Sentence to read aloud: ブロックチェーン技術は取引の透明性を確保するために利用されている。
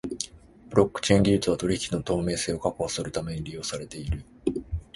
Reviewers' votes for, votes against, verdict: 4, 0, accepted